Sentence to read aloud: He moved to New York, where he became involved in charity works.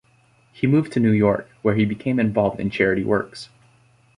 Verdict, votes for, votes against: accepted, 2, 0